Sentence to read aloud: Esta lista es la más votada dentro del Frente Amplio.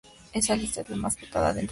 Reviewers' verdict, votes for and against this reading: rejected, 0, 2